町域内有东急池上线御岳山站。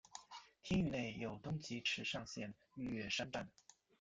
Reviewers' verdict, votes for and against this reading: rejected, 1, 2